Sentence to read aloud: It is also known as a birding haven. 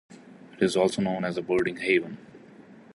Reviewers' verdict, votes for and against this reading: accepted, 2, 0